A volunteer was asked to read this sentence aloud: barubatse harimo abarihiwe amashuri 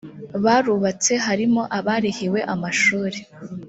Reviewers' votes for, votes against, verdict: 2, 0, accepted